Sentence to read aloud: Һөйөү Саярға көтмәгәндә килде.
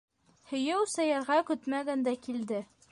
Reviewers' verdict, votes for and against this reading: rejected, 1, 2